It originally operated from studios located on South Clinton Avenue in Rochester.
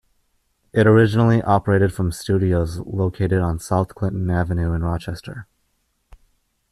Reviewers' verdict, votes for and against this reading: accepted, 2, 0